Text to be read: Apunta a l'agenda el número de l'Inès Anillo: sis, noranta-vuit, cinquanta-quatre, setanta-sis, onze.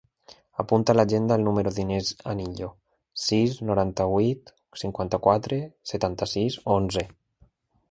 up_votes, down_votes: 1, 2